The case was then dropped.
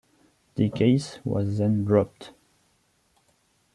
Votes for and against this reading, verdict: 2, 0, accepted